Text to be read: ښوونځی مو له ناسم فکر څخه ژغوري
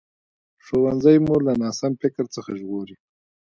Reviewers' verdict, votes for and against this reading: rejected, 0, 2